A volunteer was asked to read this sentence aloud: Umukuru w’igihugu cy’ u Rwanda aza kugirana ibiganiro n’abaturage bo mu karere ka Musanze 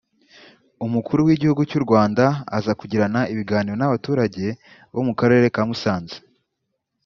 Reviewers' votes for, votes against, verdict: 2, 0, accepted